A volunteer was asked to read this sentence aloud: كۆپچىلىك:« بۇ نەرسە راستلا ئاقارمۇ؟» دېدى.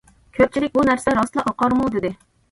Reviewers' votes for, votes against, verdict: 2, 0, accepted